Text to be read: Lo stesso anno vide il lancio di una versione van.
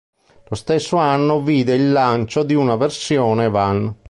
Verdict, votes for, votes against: accepted, 2, 0